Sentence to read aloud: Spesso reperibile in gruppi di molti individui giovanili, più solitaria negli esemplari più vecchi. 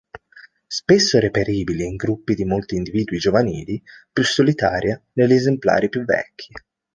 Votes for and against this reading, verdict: 2, 0, accepted